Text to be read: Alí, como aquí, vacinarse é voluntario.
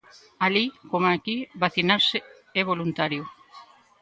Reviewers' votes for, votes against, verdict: 2, 0, accepted